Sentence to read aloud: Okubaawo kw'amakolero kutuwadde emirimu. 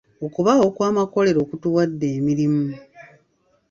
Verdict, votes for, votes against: rejected, 1, 2